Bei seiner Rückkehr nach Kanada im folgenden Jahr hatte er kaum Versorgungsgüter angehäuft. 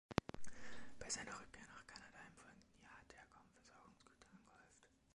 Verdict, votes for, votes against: rejected, 0, 2